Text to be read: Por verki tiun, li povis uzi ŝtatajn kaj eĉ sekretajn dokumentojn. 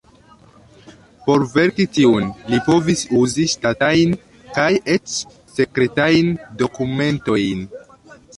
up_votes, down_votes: 0, 2